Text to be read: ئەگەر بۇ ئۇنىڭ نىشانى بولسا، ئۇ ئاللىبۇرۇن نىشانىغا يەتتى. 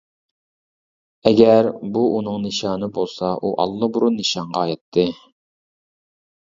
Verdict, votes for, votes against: rejected, 1, 2